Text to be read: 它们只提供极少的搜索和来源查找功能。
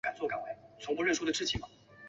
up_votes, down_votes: 0, 2